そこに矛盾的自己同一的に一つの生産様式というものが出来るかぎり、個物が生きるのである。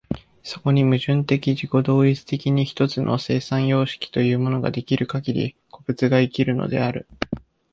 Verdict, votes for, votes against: accepted, 2, 0